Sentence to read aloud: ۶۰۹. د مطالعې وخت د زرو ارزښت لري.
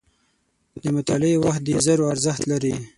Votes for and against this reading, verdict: 0, 2, rejected